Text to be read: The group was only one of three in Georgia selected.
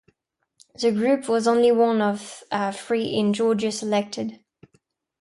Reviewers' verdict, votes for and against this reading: rejected, 0, 2